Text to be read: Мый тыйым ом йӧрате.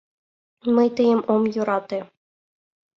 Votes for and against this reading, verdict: 2, 1, accepted